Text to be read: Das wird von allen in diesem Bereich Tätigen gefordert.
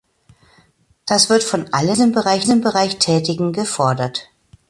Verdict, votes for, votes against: rejected, 0, 2